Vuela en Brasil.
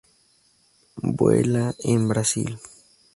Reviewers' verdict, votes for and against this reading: accepted, 2, 0